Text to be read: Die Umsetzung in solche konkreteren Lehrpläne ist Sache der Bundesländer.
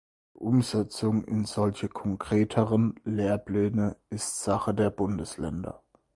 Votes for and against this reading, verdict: 0, 4, rejected